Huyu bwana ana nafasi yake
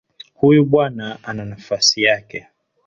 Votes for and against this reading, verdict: 0, 2, rejected